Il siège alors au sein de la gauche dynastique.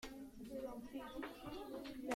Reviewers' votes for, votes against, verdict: 0, 2, rejected